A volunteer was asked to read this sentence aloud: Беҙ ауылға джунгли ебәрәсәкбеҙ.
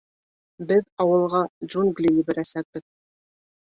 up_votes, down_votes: 2, 1